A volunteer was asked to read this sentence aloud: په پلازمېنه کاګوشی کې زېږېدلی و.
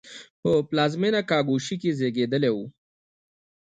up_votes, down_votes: 2, 0